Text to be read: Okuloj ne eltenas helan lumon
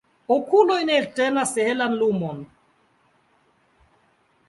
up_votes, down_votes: 0, 2